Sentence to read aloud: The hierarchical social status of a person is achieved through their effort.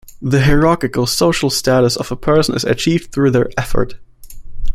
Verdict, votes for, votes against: accepted, 2, 0